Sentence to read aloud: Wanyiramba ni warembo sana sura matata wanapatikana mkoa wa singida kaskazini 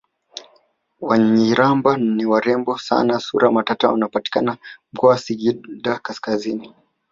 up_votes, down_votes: 1, 3